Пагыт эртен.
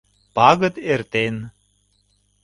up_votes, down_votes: 2, 0